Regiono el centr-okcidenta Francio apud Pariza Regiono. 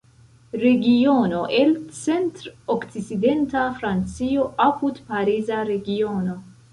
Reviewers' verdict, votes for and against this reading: rejected, 0, 2